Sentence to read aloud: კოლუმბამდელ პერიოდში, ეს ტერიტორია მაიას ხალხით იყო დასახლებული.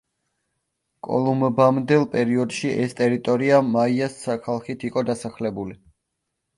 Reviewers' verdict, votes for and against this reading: rejected, 1, 2